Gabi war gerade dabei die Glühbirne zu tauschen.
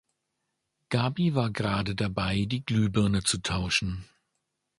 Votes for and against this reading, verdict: 2, 0, accepted